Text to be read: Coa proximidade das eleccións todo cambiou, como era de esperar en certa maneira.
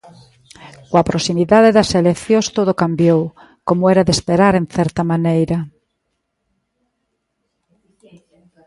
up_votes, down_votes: 2, 0